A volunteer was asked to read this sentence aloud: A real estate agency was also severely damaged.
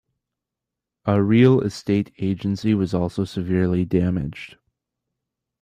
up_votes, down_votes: 2, 0